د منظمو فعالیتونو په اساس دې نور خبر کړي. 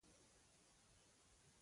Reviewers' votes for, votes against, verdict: 0, 2, rejected